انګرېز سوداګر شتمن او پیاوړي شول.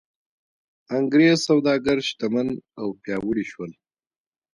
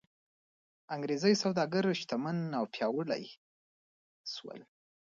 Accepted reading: first